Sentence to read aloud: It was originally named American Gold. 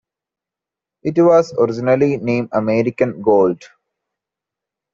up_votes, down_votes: 2, 0